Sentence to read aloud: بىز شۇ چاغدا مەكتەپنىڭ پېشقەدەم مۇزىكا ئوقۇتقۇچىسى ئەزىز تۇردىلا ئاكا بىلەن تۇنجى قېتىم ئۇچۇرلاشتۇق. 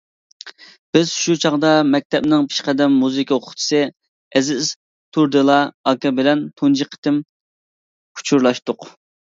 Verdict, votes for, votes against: accepted, 2, 1